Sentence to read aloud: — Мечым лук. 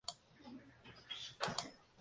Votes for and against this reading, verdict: 0, 2, rejected